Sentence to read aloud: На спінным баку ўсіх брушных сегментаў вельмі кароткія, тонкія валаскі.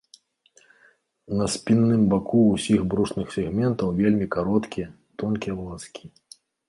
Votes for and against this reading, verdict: 1, 2, rejected